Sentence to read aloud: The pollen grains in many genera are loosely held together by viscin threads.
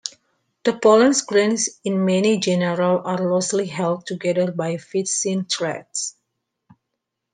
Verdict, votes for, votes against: rejected, 1, 2